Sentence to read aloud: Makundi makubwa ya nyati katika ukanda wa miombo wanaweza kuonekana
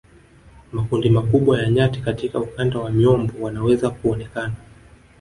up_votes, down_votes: 3, 1